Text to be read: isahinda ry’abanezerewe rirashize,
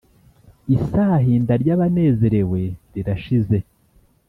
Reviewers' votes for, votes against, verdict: 2, 0, accepted